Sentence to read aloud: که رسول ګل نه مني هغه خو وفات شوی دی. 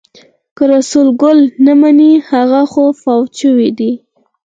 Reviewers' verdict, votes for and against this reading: rejected, 2, 4